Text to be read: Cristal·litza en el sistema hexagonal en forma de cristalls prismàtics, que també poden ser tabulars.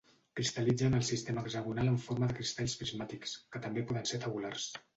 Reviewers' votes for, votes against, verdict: 1, 2, rejected